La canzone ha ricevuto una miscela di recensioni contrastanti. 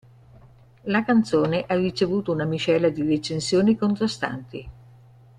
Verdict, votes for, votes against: accepted, 2, 0